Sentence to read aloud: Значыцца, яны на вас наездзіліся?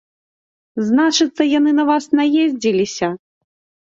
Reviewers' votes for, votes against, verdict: 2, 0, accepted